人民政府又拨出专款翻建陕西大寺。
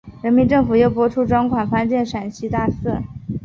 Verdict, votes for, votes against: accepted, 2, 0